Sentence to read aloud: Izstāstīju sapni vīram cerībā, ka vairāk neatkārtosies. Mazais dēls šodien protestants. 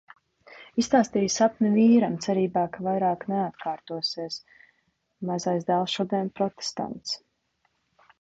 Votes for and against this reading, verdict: 2, 0, accepted